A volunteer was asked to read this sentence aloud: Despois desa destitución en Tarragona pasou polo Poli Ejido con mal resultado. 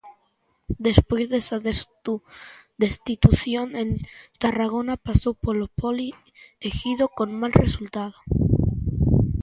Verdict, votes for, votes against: rejected, 0, 2